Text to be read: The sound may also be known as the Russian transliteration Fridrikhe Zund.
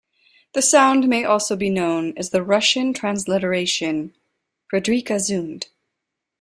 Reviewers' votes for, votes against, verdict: 2, 0, accepted